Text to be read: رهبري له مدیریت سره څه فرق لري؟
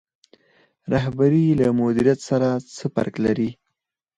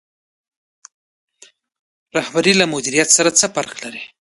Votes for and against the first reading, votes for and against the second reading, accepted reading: 0, 4, 2, 0, second